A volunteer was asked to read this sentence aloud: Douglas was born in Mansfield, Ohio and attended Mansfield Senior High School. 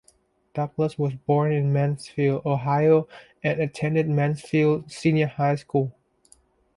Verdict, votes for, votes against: accepted, 2, 0